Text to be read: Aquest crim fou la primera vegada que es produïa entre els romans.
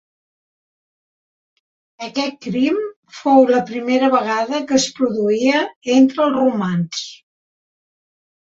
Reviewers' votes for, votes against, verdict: 3, 0, accepted